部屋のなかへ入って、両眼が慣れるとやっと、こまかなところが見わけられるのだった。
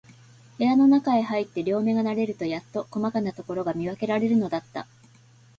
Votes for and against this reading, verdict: 8, 1, accepted